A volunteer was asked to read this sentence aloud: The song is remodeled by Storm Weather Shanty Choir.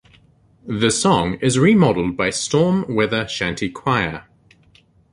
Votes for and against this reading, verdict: 2, 0, accepted